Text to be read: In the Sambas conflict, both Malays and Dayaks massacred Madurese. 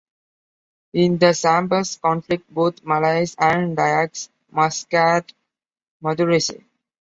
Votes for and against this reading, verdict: 1, 2, rejected